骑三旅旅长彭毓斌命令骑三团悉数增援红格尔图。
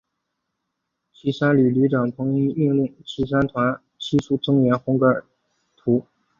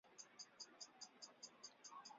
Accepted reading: first